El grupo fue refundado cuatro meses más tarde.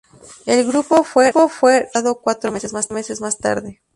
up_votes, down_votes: 0, 2